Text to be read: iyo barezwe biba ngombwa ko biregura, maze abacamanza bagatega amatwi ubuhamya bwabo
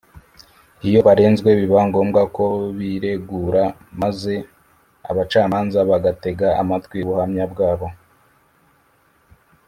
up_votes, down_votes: 0, 2